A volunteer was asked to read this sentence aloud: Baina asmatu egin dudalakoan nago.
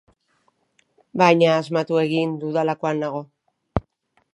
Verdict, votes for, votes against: accepted, 2, 0